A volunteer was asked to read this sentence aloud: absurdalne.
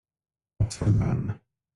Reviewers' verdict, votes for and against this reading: rejected, 0, 2